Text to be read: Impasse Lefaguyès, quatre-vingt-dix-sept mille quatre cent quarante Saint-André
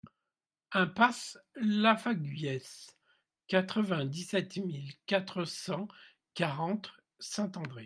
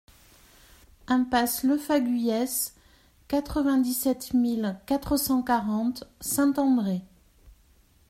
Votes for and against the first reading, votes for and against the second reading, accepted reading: 1, 2, 2, 0, second